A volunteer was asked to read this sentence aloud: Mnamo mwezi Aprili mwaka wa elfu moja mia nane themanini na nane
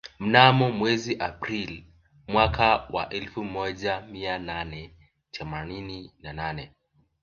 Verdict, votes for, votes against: accepted, 3, 0